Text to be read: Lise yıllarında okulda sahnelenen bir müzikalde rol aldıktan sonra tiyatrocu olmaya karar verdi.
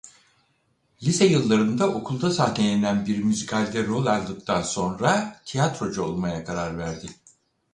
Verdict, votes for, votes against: rejected, 2, 4